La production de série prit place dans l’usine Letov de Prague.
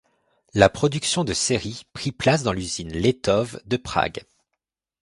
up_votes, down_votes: 2, 0